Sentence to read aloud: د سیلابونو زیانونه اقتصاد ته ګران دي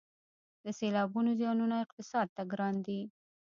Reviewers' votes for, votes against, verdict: 0, 2, rejected